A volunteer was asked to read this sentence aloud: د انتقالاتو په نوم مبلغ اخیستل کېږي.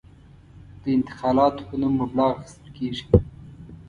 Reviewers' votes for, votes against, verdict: 2, 0, accepted